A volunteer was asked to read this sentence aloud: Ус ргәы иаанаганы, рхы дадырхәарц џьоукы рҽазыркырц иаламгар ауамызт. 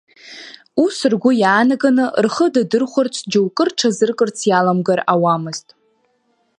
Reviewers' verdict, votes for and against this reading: accepted, 2, 0